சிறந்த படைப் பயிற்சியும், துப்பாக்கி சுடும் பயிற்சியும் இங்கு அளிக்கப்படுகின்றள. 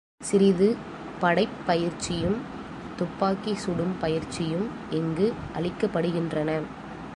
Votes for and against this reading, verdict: 1, 2, rejected